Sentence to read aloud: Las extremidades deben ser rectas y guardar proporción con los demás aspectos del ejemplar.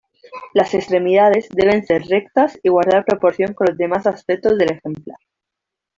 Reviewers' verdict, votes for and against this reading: accepted, 2, 1